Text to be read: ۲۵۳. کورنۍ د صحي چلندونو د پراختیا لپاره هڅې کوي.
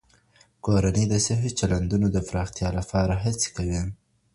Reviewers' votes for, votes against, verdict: 0, 2, rejected